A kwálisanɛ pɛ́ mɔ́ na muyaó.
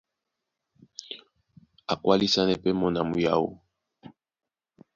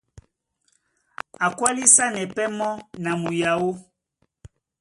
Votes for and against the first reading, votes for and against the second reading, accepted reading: 1, 2, 2, 0, second